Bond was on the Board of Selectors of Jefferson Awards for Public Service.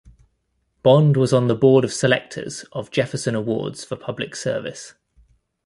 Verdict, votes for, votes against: accepted, 2, 0